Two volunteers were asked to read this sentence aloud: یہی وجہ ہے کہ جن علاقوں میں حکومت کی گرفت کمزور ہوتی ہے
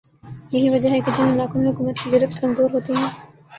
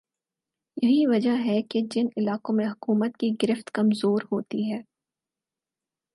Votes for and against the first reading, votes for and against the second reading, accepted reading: 6, 6, 4, 0, second